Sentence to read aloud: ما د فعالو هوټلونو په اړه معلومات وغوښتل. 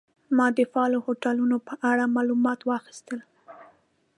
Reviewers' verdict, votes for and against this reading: rejected, 1, 2